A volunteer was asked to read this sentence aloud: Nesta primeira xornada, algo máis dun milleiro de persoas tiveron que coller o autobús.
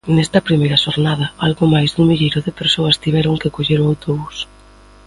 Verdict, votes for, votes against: accepted, 2, 0